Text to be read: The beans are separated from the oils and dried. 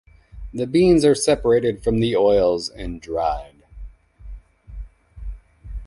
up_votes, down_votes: 2, 1